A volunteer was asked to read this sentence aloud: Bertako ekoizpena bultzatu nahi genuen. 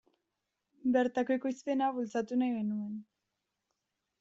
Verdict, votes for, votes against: accepted, 2, 0